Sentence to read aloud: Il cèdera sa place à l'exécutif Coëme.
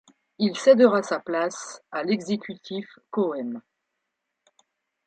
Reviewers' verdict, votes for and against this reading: accepted, 2, 0